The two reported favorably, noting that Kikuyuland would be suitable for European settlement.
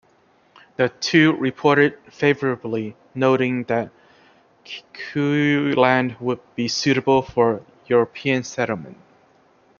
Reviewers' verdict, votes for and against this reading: rejected, 0, 2